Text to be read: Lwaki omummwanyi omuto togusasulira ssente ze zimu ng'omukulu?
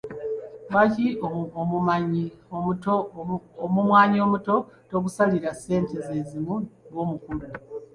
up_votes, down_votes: 0, 2